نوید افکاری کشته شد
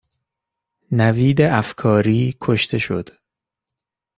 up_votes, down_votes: 2, 0